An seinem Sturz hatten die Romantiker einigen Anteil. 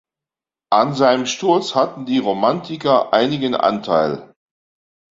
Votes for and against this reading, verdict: 2, 0, accepted